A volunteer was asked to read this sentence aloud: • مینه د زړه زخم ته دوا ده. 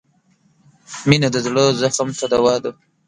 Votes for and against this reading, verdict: 2, 0, accepted